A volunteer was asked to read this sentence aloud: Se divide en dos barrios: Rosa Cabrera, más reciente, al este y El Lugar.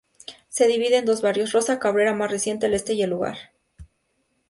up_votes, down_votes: 2, 0